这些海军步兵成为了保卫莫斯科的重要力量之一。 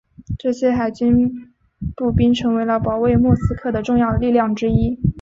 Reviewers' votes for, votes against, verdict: 6, 0, accepted